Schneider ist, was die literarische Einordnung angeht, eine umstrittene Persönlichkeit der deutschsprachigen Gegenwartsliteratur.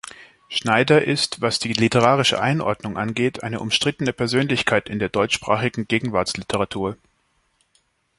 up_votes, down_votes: 1, 3